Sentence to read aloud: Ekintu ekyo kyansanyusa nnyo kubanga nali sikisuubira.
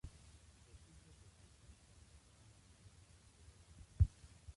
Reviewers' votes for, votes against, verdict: 0, 2, rejected